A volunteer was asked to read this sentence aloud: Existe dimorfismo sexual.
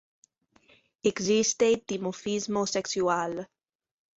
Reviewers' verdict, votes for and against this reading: rejected, 0, 2